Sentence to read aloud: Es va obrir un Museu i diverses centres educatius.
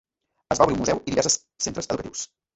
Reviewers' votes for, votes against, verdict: 0, 2, rejected